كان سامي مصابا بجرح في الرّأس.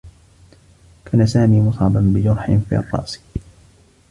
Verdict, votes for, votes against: accepted, 2, 0